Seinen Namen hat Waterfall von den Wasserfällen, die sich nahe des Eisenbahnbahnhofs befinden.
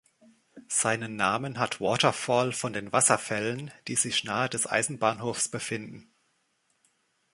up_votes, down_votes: 3, 4